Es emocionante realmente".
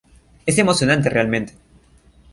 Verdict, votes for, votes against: rejected, 1, 2